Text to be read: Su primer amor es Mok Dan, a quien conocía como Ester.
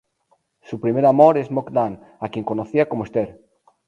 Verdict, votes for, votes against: rejected, 0, 2